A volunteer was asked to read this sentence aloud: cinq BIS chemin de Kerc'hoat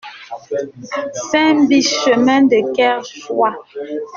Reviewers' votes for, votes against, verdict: 1, 2, rejected